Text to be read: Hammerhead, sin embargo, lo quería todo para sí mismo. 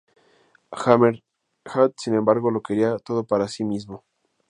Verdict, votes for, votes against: rejected, 0, 2